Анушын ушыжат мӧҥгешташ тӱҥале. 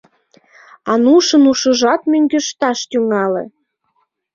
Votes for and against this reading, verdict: 3, 1, accepted